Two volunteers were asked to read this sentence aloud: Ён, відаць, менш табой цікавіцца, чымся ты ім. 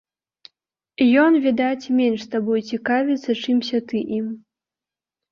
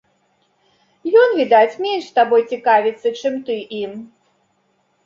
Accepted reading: first